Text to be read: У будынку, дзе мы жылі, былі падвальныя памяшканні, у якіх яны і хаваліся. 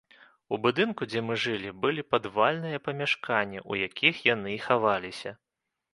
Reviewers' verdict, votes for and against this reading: rejected, 1, 2